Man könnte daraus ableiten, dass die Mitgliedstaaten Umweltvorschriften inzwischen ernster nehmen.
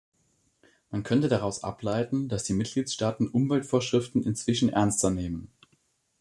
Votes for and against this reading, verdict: 2, 0, accepted